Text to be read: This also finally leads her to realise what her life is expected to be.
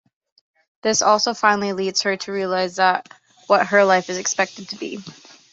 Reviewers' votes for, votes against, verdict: 2, 0, accepted